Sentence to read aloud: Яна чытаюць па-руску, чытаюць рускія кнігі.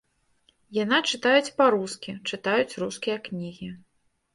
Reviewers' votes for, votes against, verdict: 0, 2, rejected